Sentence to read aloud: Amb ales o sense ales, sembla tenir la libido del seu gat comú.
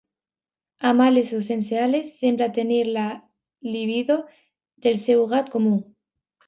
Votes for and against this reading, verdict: 0, 2, rejected